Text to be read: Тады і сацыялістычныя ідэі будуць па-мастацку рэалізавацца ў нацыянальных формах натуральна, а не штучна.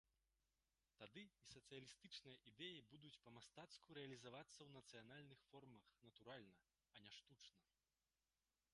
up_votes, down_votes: 0, 2